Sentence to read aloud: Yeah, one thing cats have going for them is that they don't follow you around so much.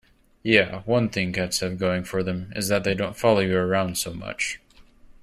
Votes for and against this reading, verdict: 2, 0, accepted